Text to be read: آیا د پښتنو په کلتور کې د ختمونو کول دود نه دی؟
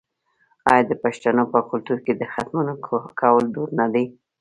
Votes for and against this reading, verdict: 2, 0, accepted